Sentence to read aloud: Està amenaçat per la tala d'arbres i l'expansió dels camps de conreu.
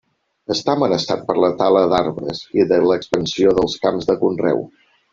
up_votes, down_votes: 1, 2